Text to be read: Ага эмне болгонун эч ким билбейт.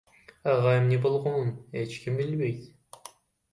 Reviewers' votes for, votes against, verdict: 1, 2, rejected